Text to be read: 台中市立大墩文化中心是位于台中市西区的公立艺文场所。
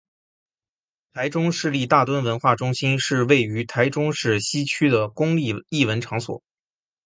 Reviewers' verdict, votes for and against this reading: accepted, 6, 0